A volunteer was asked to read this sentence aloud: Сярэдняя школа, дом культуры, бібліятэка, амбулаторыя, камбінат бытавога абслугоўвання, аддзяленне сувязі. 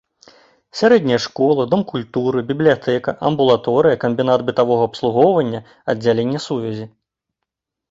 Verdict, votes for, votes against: accepted, 2, 0